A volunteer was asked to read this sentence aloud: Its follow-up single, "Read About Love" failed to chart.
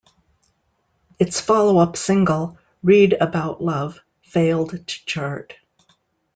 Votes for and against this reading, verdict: 2, 0, accepted